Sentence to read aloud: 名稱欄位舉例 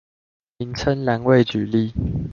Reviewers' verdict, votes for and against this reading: accepted, 2, 0